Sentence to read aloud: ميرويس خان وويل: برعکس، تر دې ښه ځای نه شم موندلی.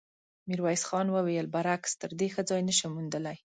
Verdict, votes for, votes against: accepted, 2, 0